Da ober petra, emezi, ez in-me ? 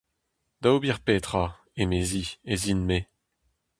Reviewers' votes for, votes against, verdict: 2, 0, accepted